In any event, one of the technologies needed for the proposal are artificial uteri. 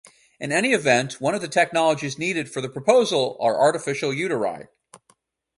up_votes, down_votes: 2, 0